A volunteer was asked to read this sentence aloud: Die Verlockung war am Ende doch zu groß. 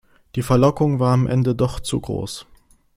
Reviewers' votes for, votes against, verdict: 2, 0, accepted